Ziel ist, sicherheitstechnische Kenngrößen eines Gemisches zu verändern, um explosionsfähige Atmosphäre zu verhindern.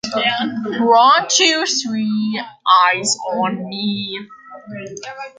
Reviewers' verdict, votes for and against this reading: rejected, 0, 2